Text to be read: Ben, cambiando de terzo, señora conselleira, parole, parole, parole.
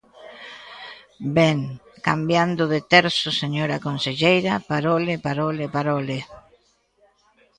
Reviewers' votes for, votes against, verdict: 1, 2, rejected